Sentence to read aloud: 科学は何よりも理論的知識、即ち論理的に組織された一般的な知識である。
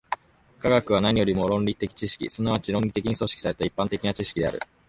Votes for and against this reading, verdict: 1, 2, rejected